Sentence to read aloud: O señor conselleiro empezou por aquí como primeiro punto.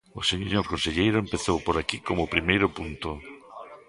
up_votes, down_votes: 1, 2